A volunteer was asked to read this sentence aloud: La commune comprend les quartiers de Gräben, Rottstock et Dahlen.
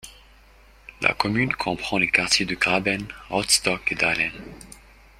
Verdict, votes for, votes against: accepted, 2, 0